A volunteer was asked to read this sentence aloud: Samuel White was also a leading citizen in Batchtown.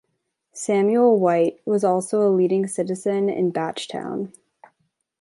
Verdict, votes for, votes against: accepted, 3, 0